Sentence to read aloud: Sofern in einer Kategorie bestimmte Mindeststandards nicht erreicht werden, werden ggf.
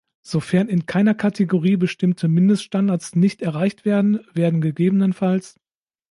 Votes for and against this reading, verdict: 0, 2, rejected